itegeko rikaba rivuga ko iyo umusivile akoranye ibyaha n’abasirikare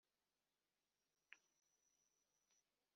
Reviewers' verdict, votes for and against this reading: rejected, 0, 2